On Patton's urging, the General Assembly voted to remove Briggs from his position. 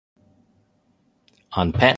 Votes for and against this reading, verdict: 1, 2, rejected